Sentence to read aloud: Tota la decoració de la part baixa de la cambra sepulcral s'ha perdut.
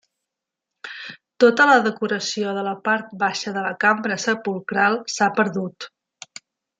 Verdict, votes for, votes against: accepted, 4, 0